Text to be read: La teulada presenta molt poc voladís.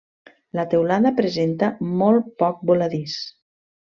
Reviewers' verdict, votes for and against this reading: accepted, 2, 0